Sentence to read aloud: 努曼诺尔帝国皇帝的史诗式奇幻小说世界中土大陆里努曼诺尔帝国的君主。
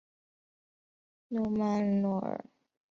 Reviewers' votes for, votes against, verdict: 0, 2, rejected